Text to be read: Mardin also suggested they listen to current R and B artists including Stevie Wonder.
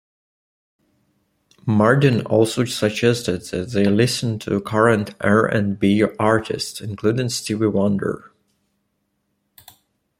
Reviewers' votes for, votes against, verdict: 2, 0, accepted